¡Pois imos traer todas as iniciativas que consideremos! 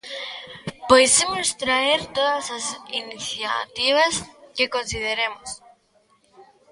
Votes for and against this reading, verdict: 1, 2, rejected